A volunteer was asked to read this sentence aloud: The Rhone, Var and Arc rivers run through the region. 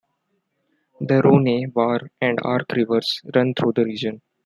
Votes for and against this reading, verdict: 0, 2, rejected